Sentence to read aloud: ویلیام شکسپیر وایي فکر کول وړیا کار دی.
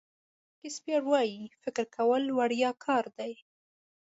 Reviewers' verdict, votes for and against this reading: rejected, 1, 2